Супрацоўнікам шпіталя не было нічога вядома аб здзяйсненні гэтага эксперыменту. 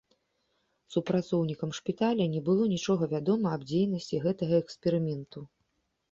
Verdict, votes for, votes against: rejected, 0, 2